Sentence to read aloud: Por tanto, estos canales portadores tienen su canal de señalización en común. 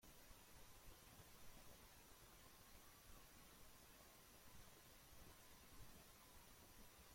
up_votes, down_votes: 0, 2